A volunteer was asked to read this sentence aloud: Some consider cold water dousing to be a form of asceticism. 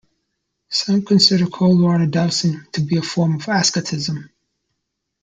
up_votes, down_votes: 0, 2